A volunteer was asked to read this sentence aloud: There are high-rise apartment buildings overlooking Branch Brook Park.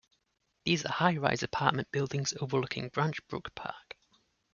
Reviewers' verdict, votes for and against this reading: rejected, 1, 2